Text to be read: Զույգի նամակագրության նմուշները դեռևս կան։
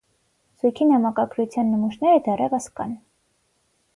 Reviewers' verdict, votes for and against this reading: accepted, 6, 0